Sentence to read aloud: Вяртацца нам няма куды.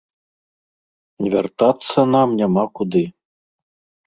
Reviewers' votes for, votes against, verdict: 2, 0, accepted